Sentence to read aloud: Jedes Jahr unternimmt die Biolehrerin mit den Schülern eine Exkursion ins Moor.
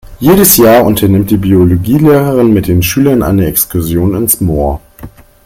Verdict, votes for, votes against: rejected, 0, 3